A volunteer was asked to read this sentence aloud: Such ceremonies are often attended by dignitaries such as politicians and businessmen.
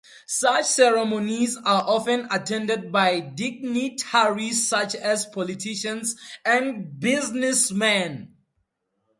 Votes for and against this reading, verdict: 4, 2, accepted